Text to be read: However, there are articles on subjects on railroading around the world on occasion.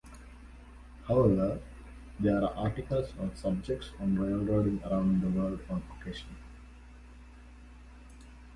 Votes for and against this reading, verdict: 2, 0, accepted